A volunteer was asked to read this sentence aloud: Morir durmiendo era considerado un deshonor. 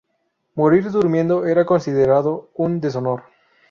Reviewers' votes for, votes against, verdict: 4, 0, accepted